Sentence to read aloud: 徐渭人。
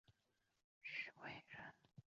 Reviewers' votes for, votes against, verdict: 3, 0, accepted